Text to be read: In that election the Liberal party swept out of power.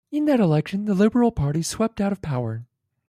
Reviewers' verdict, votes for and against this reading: accepted, 2, 1